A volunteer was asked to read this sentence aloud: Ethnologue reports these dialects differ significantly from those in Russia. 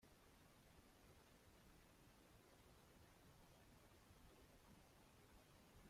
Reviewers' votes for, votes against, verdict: 0, 2, rejected